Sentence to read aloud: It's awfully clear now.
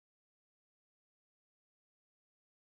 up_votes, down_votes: 0, 2